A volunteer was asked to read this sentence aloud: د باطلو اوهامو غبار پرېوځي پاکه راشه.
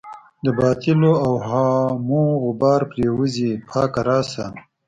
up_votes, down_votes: 2, 3